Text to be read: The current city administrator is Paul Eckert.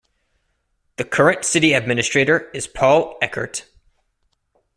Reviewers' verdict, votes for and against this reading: accepted, 2, 0